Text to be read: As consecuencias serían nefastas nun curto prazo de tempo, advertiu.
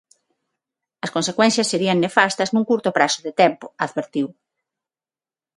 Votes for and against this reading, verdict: 6, 0, accepted